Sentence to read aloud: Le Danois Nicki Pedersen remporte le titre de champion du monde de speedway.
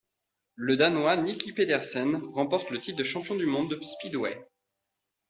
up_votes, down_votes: 2, 0